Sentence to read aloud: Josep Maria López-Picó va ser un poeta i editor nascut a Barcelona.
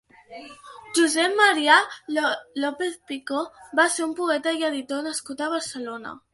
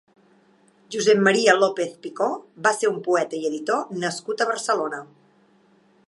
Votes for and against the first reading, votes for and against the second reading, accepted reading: 1, 4, 3, 0, second